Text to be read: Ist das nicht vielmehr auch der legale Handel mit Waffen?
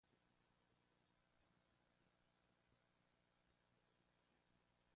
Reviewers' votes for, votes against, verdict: 0, 2, rejected